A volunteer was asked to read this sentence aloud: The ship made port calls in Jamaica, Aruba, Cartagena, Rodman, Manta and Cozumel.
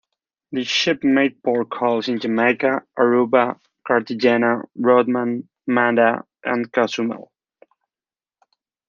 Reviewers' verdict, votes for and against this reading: rejected, 1, 2